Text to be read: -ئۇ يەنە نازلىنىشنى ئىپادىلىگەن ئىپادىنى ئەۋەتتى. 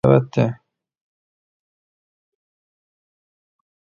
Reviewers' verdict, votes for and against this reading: rejected, 0, 2